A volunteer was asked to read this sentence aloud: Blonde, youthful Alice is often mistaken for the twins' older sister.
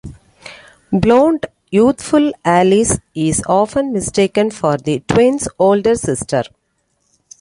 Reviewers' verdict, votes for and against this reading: accepted, 2, 0